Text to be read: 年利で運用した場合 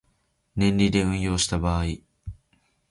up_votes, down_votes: 2, 1